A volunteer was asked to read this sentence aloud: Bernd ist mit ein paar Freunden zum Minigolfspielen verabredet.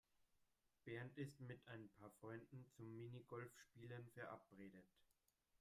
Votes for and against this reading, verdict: 0, 2, rejected